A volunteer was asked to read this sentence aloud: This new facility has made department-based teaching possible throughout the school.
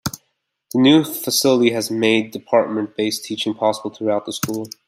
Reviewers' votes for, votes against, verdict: 1, 2, rejected